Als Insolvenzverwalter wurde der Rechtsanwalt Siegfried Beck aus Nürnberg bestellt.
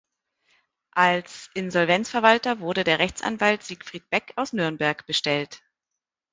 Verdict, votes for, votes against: accepted, 2, 0